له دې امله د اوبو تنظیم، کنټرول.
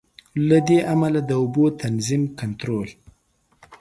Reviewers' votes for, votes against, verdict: 1, 2, rejected